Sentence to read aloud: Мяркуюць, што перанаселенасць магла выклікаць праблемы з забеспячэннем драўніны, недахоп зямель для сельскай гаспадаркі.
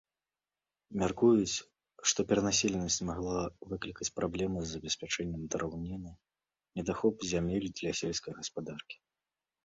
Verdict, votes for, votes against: accepted, 2, 0